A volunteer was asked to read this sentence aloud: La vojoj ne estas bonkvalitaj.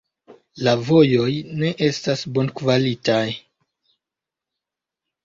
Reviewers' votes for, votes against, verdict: 3, 2, accepted